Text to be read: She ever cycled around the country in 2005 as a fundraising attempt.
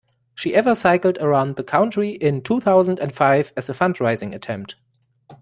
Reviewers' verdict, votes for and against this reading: rejected, 0, 2